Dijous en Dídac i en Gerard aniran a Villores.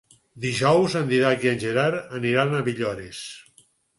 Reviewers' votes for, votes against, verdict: 4, 0, accepted